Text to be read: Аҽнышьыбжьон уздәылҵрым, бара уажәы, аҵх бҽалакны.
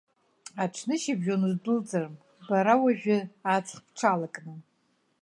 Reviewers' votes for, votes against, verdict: 2, 0, accepted